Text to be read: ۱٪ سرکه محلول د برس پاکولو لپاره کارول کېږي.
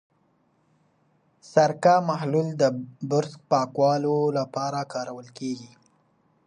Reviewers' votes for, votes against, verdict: 0, 2, rejected